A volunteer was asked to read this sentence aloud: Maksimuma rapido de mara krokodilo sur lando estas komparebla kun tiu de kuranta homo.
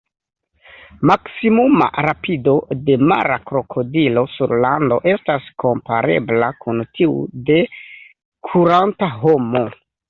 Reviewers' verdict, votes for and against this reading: accepted, 2, 1